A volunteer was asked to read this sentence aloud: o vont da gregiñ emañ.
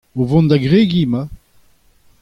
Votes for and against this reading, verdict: 2, 0, accepted